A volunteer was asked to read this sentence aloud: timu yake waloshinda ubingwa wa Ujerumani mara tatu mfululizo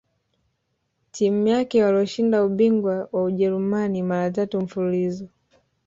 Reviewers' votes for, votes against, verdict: 1, 2, rejected